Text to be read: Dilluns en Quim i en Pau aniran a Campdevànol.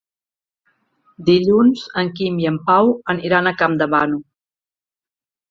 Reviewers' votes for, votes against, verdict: 2, 1, accepted